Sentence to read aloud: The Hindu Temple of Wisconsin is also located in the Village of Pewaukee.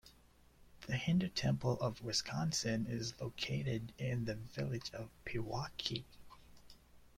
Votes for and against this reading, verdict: 0, 2, rejected